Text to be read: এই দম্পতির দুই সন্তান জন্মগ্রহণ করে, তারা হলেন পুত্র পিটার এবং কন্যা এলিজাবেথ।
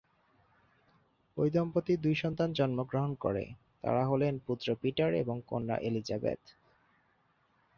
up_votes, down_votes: 6, 2